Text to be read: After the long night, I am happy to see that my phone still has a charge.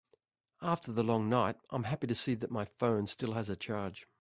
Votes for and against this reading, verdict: 3, 0, accepted